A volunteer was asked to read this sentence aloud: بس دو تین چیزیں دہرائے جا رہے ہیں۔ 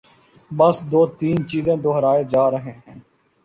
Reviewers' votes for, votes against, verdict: 2, 0, accepted